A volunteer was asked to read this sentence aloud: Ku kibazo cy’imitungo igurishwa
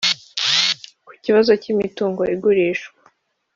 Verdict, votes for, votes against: rejected, 1, 2